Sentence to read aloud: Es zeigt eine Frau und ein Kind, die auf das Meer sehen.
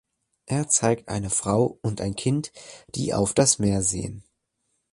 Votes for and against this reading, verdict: 2, 0, accepted